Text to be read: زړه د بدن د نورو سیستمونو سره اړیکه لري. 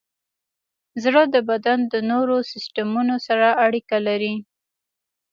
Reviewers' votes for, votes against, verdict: 1, 2, rejected